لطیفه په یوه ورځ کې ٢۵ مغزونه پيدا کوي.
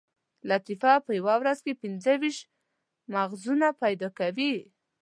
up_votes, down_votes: 0, 2